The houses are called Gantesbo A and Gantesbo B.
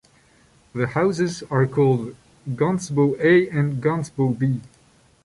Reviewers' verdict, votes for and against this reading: accepted, 2, 1